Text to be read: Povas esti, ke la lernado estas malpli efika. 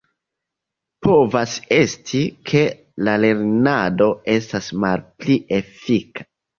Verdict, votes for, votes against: rejected, 1, 2